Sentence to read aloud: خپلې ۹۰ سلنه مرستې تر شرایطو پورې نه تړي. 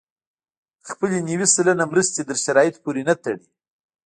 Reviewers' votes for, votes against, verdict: 0, 2, rejected